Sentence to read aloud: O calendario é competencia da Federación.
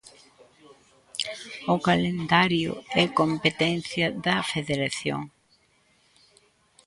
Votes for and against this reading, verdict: 1, 2, rejected